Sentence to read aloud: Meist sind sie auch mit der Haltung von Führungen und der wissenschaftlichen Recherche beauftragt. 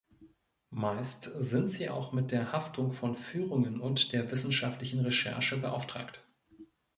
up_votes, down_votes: 0, 2